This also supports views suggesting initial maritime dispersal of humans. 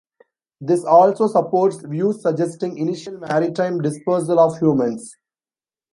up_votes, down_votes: 2, 0